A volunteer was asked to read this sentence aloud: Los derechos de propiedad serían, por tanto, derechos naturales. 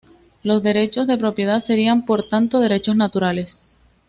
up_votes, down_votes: 2, 0